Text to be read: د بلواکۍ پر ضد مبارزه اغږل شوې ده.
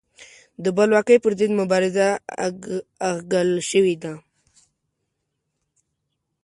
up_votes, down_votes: 2, 1